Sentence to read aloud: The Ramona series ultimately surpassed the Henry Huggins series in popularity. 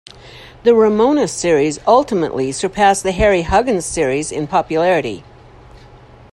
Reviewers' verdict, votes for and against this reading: rejected, 0, 2